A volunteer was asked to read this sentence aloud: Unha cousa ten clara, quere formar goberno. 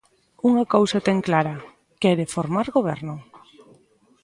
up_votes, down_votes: 1, 2